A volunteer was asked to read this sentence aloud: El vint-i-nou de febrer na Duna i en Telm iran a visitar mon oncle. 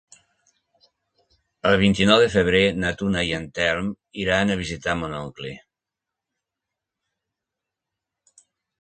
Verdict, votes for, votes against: accepted, 2, 0